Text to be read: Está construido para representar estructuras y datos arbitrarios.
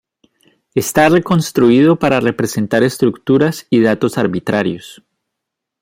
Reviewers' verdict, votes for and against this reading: rejected, 1, 2